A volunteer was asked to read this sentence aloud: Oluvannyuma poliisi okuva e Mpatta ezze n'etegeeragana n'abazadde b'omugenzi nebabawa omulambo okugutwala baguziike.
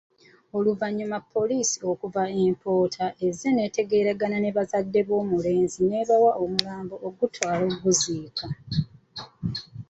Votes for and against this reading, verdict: 0, 2, rejected